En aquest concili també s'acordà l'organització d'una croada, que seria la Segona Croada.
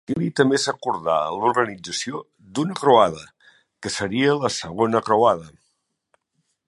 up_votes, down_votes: 1, 2